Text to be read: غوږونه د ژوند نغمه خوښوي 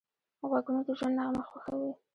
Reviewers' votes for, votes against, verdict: 1, 2, rejected